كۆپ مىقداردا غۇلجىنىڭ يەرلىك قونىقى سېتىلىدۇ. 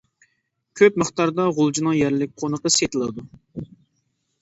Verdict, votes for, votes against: accepted, 2, 0